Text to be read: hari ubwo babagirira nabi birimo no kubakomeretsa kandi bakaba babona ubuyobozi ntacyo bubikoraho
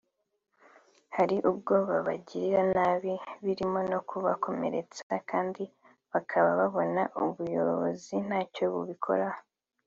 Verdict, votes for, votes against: accepted, 2, 0